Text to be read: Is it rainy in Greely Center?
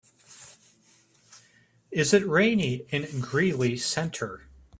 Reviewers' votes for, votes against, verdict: 2, 0, accepted